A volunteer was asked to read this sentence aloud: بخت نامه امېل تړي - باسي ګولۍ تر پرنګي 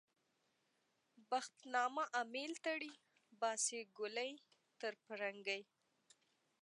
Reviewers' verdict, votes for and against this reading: accepted, 2, 0